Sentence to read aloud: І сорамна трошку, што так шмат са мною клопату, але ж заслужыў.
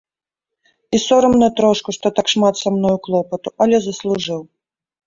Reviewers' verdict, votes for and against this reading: rejected, 1, 2